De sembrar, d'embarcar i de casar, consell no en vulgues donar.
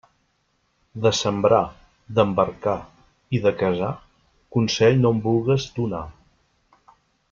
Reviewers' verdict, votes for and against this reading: accepted, 2, 0